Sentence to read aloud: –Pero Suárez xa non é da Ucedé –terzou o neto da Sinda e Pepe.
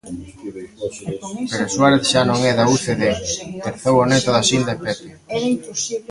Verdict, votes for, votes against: rejected, 0, 2